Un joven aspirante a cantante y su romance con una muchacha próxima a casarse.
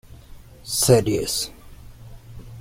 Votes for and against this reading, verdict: 0, 2, rejected